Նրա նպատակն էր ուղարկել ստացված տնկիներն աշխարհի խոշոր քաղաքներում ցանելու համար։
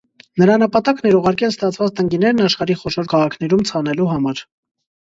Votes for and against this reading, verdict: 2, 0, accepted